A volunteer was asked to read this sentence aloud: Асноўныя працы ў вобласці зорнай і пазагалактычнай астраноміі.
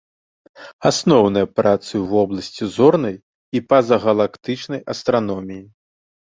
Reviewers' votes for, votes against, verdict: 2, 0, accepted